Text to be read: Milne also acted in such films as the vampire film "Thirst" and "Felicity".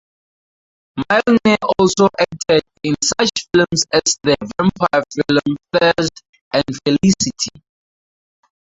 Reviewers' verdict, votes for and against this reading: rejected, 0, 4